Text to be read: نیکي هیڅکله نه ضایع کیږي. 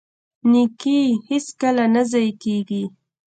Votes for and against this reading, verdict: 2, 0, accepted